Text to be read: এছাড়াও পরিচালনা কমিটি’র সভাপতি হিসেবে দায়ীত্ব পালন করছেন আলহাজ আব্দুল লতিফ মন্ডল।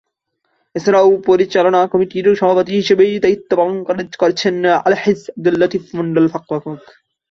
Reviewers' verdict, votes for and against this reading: rejected, 1, 3